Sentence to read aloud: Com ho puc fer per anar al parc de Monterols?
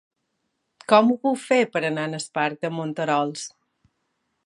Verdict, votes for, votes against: rejected, 1, 2